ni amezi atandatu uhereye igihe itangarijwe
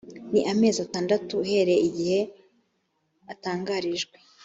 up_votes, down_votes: 1, 2